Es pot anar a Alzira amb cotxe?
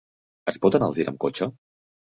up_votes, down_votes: 1, 3